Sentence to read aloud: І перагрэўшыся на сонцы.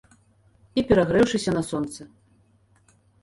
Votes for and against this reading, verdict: 2, 0, accepted